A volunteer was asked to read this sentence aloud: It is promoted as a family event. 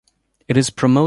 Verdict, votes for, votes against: rejected, 0, 2